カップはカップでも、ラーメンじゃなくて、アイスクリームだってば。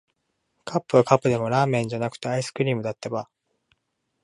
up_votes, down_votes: 2, 1